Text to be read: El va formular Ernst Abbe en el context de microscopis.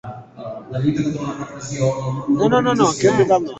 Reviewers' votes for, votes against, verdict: 0, 3, rejected